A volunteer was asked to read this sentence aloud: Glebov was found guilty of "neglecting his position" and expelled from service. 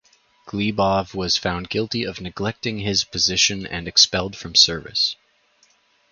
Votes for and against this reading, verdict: 6, 0, accepted